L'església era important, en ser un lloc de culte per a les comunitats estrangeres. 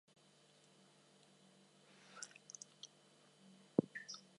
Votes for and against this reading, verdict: 0, 4, rejected